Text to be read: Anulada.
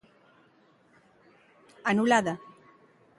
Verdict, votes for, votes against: accepted, 2, 0